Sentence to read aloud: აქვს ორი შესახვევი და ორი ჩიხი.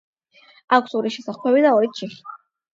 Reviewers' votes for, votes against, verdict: 8, 0, accepted